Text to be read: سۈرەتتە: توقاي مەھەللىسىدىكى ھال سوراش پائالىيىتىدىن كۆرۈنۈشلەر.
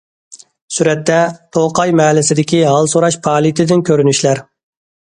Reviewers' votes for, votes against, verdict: 2, 0, accepted